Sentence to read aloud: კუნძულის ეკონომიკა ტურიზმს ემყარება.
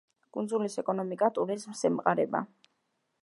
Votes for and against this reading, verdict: 2, 1, accepted